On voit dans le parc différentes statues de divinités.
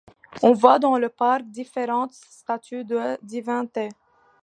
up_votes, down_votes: 2, 0